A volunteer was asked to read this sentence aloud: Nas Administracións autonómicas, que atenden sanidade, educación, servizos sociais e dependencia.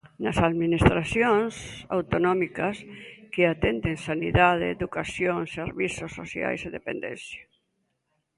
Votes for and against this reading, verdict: 2, 0, accepted